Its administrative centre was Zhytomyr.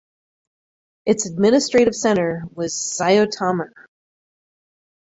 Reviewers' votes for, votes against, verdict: 0, 4, rejected